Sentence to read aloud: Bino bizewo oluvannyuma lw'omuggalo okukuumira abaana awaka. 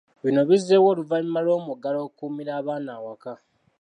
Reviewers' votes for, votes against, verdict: 1, 2, rejected